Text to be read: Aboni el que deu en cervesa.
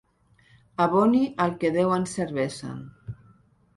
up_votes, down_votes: 0, 2